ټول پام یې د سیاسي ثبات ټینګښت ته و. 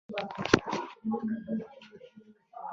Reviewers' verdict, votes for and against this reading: rejected, 0, 2